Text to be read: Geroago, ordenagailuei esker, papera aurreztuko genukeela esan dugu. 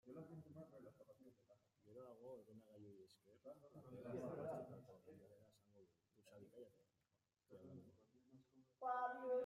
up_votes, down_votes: 0, 2